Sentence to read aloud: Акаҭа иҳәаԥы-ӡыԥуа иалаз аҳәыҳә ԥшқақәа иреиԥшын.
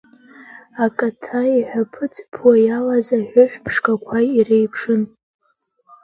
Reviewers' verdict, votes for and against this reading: accepted, 2, 1